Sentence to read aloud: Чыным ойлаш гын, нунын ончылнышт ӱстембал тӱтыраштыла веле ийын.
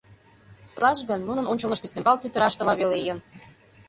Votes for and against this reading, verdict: 0, 2, rejected